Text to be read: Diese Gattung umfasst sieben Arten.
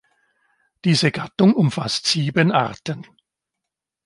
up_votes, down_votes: 2, 1